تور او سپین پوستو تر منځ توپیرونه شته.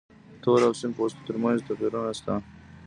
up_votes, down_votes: 0, 2